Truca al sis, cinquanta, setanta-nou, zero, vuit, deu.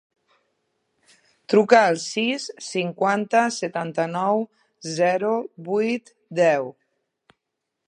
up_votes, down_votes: 2, 0